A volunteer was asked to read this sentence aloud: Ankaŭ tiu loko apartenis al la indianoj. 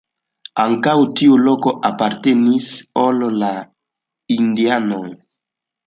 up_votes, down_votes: 0, 2